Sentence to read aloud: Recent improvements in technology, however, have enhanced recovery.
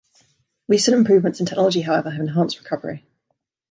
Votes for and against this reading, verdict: 1, 2, rejected